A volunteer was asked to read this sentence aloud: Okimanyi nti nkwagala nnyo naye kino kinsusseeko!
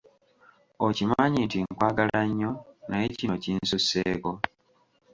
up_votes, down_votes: 2, 0